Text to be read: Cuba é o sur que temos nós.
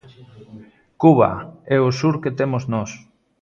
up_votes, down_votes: 2, 0